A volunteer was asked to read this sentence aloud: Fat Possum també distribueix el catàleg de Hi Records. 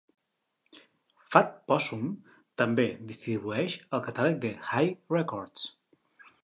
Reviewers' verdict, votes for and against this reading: accepted, 2, 0